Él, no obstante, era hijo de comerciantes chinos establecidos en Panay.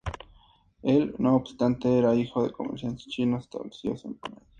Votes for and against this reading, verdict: 2, 0, accepted